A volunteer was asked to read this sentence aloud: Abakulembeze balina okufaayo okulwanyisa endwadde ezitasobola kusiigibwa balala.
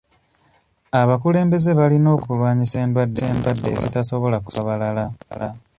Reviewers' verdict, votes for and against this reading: rejected, 0, 2